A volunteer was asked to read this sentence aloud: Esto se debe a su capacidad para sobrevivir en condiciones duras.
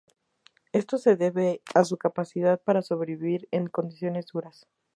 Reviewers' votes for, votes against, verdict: 2, 0, accepted